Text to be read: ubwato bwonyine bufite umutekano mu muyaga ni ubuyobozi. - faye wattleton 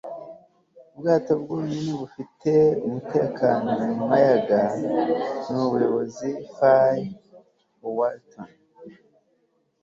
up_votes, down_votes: 2, 0